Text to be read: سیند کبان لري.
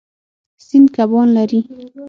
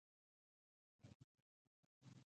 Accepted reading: first